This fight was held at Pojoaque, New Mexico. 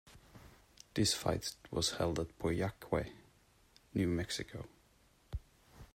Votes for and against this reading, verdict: 2, 0, accepted